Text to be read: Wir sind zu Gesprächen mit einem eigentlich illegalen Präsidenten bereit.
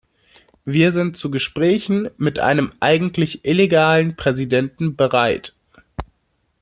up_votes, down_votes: 2, 0